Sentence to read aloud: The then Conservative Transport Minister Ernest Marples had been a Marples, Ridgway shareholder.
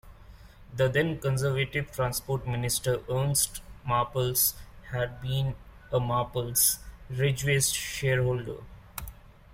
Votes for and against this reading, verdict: 1, 2, rejected